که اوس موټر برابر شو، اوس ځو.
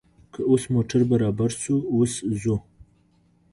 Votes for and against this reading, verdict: 2, 0, accepted